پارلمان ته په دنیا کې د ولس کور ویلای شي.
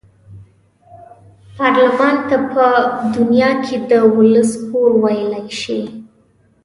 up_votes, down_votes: 2, 0